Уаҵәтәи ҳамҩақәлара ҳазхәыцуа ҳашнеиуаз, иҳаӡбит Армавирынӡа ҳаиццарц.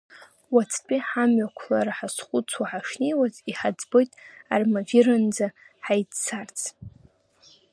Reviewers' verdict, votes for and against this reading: accepted, 2, 1